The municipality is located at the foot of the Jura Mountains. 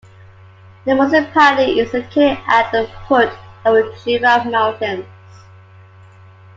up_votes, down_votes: 2, 0